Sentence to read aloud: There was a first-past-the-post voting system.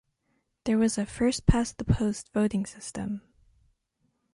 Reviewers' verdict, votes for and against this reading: accepted, 3, 0